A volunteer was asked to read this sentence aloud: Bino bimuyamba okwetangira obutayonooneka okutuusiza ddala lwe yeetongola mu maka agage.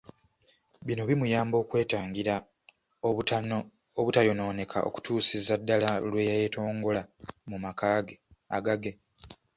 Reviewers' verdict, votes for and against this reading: rejected, 1, 2